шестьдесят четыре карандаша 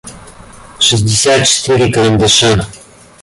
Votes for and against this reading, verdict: 2, 1, accepted